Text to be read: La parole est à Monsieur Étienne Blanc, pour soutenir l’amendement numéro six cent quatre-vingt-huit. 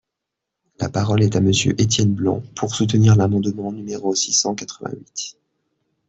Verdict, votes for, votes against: rejected, 0, 2